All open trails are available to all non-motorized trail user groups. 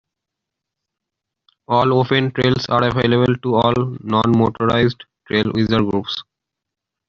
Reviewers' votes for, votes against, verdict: 2, 3, rejected